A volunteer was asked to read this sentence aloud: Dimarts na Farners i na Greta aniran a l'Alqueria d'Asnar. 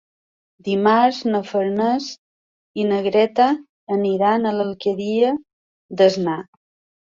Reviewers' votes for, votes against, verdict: 2, 0, accepted